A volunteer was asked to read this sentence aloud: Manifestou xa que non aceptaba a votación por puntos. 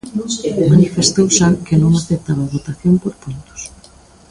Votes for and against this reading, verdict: 1, 2, rejected